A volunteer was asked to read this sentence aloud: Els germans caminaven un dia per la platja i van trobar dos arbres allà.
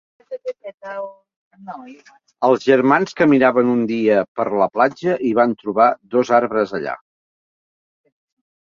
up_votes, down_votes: 0, 2